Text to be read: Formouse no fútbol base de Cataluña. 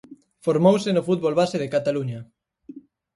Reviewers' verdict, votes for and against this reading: accepted, 4, 0